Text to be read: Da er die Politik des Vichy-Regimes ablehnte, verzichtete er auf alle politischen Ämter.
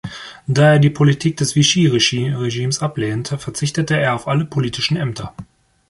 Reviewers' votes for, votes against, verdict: 1, 2, rejected